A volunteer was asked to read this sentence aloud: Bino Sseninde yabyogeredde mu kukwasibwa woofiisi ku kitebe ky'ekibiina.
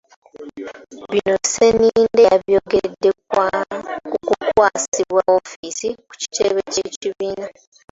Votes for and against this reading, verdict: 0, 2, rejected